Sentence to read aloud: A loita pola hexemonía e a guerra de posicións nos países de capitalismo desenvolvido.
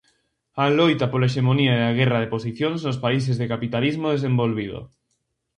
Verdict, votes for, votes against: accepted, 2, 0